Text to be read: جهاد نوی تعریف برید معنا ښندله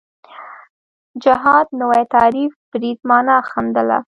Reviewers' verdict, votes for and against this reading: accepted, 2, 0